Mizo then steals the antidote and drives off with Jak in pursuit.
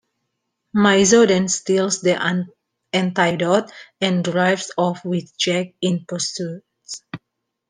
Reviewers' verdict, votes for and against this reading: rejected, 0, 2